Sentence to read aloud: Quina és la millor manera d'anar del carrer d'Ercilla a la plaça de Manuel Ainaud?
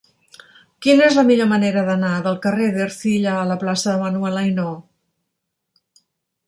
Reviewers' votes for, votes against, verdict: 2, 0, accepted